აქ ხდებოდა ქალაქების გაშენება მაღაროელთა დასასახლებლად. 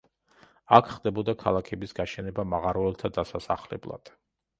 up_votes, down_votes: 2, 0